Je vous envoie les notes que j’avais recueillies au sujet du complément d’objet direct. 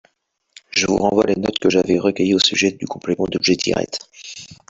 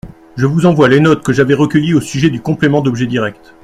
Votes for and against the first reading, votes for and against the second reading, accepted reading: 1, 2, 2, 0, second